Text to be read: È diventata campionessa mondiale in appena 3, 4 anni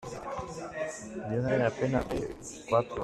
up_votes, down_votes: 0, 2